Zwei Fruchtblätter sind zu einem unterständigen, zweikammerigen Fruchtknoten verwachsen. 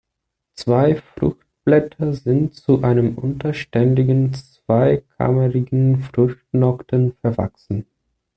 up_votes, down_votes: 1, 2